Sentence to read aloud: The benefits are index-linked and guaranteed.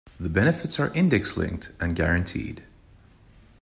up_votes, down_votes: 2, 0